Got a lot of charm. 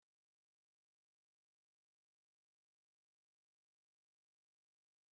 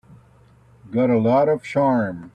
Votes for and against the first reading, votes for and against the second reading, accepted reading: 0, 2, 3, 0, second